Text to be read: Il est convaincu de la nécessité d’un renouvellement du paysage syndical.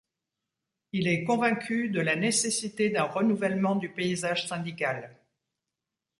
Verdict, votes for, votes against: accepted, 2, 0